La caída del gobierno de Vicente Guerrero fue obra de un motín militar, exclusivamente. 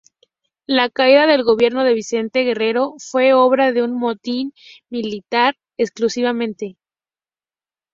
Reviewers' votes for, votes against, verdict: 2, 0, accepted